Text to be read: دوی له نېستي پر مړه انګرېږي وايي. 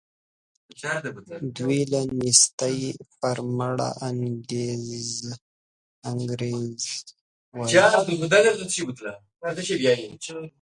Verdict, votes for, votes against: rejected, 1, 2